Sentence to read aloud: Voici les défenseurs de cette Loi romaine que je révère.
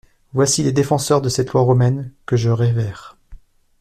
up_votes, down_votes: 2, 0